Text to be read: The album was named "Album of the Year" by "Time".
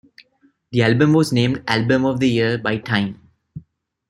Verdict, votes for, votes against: accepted, 2, 0